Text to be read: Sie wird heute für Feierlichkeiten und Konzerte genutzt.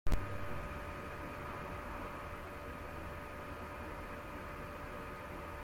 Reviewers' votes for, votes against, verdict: 0, 2, rejected